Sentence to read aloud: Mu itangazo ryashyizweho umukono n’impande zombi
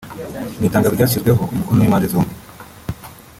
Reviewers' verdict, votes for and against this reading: rejected, 1, 2